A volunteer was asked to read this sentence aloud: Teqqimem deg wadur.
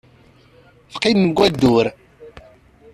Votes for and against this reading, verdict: 0, 2, rejected